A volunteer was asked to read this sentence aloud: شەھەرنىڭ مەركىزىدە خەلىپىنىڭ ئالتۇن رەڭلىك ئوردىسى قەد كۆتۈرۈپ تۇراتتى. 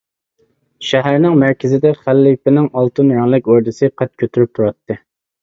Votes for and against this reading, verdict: 2, 0, accepted